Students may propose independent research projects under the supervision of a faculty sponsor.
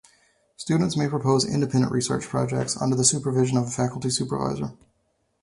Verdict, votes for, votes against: rejected, 0, 2